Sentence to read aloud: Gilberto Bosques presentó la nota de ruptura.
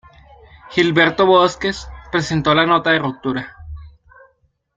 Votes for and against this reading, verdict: 2, 3, rejected